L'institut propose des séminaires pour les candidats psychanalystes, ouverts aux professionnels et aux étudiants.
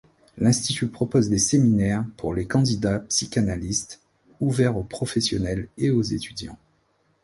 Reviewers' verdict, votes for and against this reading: accepted, 2, 0